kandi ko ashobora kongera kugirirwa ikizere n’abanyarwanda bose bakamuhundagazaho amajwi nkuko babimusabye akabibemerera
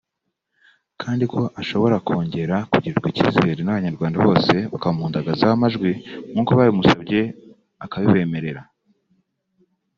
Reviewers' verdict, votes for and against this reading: accepted, 2, 0